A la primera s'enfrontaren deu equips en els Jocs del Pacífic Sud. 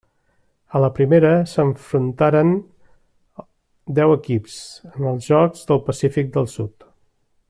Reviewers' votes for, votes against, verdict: 2, 1, accepted